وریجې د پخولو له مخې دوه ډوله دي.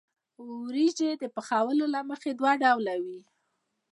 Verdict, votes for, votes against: rejected, 0, 2